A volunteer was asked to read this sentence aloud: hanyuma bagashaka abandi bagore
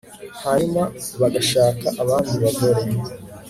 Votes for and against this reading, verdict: 3, 1, accepted